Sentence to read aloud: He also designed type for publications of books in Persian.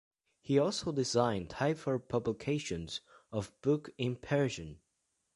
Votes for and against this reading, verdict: 0, 2, rejected